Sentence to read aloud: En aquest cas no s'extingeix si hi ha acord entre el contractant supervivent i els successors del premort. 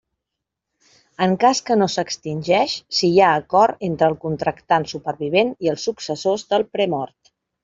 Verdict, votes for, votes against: rejected, 0, 2